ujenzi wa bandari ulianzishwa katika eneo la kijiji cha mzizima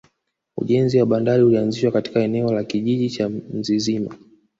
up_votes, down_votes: 0, 2